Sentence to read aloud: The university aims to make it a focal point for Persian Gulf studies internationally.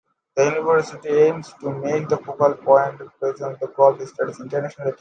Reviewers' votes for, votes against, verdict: 0, 2, rejected